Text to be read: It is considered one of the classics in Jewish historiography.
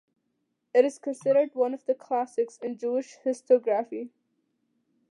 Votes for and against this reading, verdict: 2, 0, accepted